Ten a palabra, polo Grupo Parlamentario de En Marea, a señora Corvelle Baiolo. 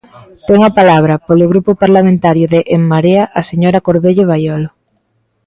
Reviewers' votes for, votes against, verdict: 2, 0, accepted